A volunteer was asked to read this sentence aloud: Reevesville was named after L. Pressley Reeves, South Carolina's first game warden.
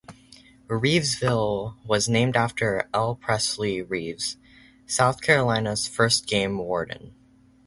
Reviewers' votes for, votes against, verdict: 4, 0, accepted